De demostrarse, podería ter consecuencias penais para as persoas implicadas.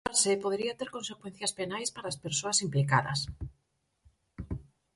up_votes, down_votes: 0, 4